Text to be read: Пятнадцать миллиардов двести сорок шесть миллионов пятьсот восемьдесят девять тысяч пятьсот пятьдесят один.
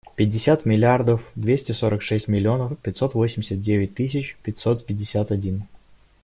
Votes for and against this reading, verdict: 1, 2, rejected